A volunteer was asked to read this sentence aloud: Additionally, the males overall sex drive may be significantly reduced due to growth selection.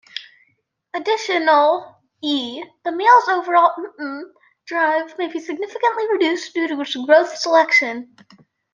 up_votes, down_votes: 0, 2